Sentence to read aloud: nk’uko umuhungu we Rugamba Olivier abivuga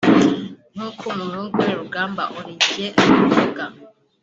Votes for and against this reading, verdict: 3, 0, accepted